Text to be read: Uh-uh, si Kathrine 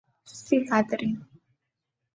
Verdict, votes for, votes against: rejected, 0, 2